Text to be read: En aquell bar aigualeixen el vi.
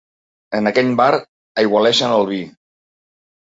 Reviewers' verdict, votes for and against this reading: rejected, 1, 2